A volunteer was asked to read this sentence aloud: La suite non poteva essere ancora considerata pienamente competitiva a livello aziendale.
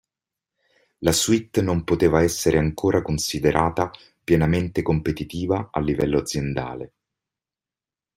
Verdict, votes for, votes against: accepted, 2, 0